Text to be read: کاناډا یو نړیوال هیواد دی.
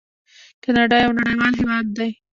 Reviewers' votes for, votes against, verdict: 2, 0, accepted